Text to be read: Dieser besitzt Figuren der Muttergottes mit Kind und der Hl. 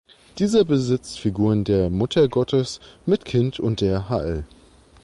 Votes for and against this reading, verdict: 1, 2, rejected